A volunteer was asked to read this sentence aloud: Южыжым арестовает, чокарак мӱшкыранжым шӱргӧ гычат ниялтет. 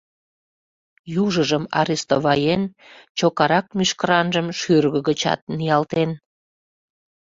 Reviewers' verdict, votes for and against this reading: rejected, 0, 2